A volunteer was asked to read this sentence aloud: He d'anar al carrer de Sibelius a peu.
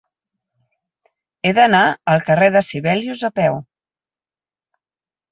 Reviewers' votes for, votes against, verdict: 0, 4, rejected